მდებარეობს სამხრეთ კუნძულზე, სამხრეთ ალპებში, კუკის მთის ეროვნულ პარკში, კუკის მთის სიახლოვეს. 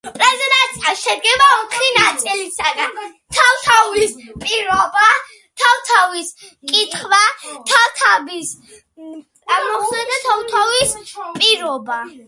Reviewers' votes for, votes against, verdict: 0, 2, rejected